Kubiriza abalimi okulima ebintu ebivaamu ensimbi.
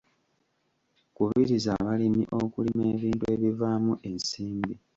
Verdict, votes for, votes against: accepted, 2, 0